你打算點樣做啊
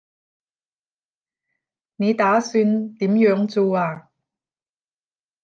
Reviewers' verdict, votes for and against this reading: rejected, 0, 10